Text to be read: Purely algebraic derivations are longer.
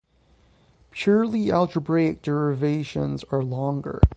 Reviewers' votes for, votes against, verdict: 3, 3, rejected